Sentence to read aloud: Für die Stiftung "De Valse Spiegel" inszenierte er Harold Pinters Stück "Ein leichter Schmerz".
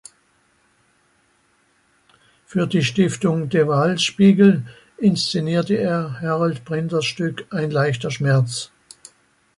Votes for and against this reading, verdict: 0, 2, rejected